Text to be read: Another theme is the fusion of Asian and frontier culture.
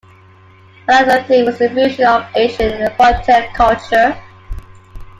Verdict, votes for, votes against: rejected, 0, 2